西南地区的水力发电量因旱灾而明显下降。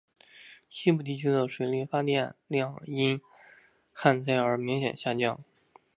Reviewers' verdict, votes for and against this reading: rejected, 1, 2